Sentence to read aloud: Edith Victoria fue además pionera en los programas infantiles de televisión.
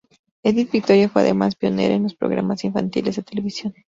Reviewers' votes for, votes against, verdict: 0, 2, rejected